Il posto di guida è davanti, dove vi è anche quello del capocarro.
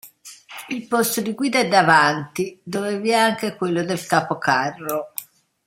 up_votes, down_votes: 2, 0